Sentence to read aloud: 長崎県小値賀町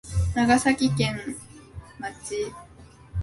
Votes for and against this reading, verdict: 1, 3, rejected